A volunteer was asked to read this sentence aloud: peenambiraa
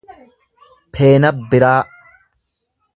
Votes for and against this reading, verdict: 0, 2, rejected